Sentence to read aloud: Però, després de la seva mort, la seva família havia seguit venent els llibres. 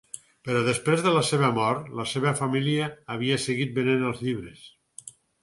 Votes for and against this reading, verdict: 4, 0, accepted